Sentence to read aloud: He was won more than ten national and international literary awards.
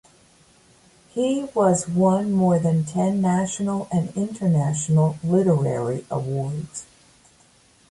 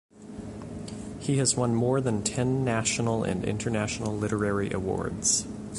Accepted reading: second